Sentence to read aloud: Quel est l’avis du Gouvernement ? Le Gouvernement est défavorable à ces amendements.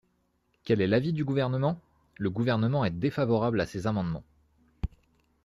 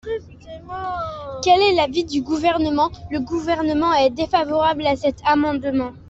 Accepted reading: first